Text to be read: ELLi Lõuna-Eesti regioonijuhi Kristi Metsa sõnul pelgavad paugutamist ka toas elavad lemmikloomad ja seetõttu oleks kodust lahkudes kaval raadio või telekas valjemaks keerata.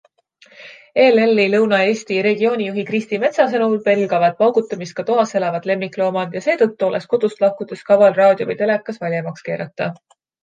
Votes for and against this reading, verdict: 2, 0, accepted